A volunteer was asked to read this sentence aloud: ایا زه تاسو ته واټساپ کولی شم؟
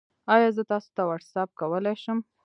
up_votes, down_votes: 0, 2